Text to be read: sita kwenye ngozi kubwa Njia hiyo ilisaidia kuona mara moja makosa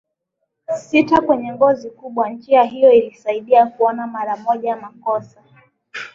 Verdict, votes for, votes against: accepted, 2, 0